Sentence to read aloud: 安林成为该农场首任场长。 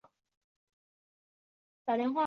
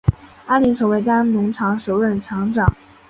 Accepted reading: second